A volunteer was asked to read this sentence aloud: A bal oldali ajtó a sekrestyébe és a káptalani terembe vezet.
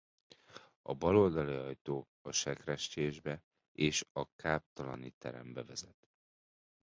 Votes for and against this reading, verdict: 0, 2, rejected